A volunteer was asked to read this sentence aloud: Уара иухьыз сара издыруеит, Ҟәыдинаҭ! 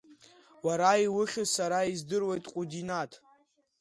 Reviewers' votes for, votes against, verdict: 2, 0, accepted